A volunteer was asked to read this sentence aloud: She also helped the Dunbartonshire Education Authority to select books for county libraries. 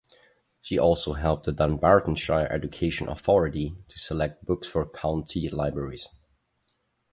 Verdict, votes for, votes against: accepted, 2, 0